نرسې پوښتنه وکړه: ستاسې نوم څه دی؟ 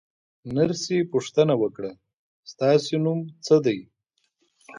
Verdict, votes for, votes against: accepted, 2, 0